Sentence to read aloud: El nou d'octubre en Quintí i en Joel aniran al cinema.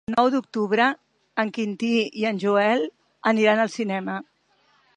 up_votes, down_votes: 1, 2